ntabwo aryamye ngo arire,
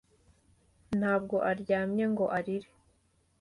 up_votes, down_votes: 2, 0